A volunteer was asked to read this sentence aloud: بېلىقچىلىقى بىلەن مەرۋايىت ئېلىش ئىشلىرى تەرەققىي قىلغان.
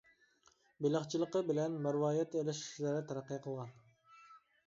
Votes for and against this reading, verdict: 2, 1, accepted